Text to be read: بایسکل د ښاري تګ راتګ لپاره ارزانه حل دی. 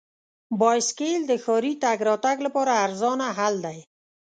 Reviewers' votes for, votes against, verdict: 2, 0, accepted